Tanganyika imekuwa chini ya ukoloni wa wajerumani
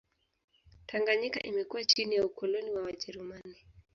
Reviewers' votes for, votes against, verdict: 0, 2, rejected